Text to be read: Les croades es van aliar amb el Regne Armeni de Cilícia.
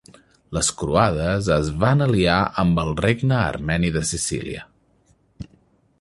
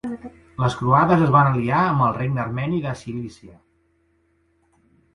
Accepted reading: second